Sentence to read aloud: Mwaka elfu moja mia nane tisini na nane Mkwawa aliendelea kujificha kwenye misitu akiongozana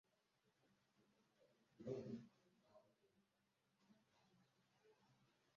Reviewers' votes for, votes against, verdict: 0, 2, rejected